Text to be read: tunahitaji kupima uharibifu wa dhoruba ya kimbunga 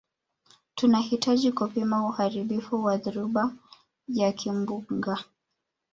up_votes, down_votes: 1, 2